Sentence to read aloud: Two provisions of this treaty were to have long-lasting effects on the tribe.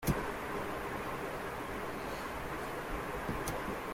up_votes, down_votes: 1, 2